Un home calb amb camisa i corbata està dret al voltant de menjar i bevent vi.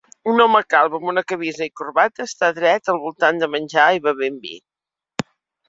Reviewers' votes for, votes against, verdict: 0, 2, rejected